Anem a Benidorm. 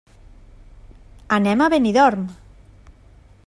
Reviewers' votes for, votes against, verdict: 3, 0, accepted